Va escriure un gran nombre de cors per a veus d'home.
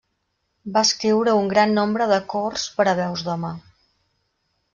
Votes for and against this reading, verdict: 1, 2, rejected